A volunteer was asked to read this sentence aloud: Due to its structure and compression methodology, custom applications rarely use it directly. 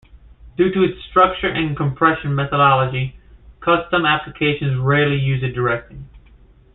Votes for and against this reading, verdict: 2, 0, accepted